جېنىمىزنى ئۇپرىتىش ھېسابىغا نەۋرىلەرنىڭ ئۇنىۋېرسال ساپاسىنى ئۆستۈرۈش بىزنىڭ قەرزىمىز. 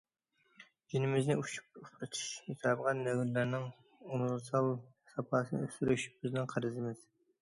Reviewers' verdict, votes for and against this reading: rejected, 0, 2